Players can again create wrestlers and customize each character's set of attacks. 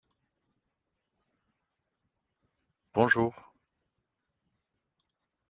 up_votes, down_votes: 0, 2